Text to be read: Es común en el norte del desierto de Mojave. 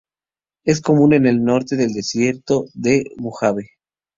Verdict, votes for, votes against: accepted, 4, 0